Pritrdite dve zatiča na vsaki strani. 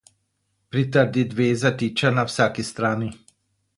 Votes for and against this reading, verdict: 0, 4, rejected